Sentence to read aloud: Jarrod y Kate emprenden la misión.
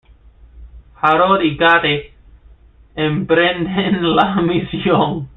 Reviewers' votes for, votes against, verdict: 0, 2, rejected